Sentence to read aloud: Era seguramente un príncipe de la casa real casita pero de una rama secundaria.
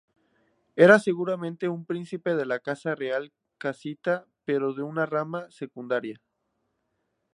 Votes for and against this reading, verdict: 2, 0, accepted